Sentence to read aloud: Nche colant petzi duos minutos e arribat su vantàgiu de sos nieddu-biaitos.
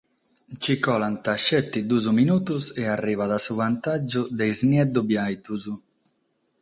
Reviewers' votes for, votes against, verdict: 3, 6, rejected